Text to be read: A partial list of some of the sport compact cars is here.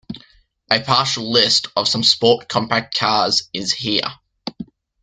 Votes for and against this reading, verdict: 1, 2, rejected